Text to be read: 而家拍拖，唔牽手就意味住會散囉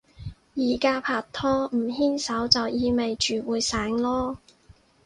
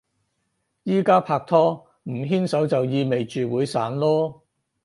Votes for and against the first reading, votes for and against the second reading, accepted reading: 2, 2, 4, 0, second